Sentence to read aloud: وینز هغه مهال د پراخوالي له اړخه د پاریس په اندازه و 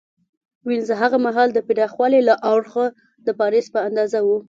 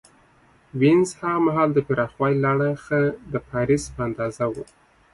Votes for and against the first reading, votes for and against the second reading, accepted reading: 2, 0, 1, 2, first